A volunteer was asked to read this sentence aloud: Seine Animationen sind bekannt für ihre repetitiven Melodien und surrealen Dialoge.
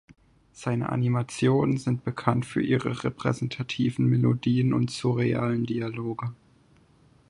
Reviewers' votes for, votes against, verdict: 0, 4, rejected